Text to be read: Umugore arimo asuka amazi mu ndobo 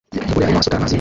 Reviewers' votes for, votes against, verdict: 0, 2, rejected